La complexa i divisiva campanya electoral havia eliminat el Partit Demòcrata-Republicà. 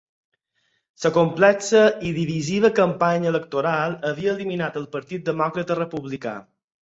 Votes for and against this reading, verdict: 2, 4, rejected